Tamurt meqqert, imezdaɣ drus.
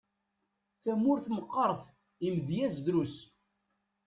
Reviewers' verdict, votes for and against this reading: rejected, 1, 2